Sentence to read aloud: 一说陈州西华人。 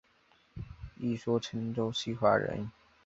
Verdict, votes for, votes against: accepted, 7, 0